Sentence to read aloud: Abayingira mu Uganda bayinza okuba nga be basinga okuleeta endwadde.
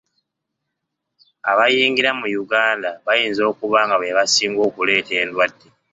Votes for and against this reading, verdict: 2, 0, accepted